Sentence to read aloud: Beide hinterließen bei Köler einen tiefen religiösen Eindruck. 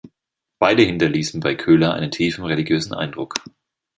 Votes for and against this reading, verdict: 2, 0, accepted